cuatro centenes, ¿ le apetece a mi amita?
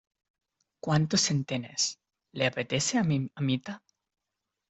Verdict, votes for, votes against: rejected, 1, 2